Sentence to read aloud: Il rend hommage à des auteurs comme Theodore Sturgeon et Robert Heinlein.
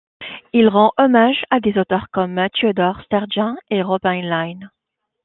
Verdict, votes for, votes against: accepted, 2, 1